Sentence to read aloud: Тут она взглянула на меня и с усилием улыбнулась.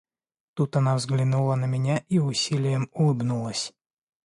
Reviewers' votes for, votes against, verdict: 0, 2, rejected